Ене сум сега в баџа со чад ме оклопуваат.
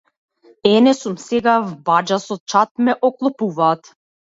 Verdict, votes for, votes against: accepted, 2, 0